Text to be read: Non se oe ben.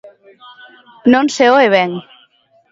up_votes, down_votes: 2, 0